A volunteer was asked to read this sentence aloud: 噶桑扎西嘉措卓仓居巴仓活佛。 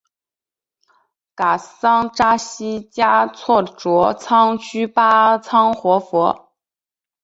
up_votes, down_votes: 5, 0